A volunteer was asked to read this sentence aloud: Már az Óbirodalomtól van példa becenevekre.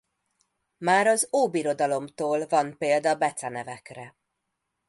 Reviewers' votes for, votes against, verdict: 2, 0, accepted